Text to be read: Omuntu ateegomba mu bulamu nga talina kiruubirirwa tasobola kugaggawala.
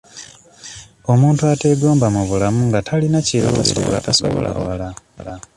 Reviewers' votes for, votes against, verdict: 0, 2, rejected